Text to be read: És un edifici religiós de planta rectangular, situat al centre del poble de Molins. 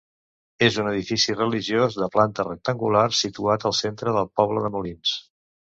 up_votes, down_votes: 2, 0